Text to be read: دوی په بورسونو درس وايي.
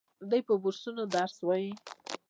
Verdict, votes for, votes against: rejected, 0, 2